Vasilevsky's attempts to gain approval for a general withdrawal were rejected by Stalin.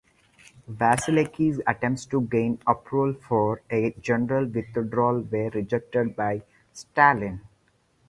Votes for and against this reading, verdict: 2, 4, rejected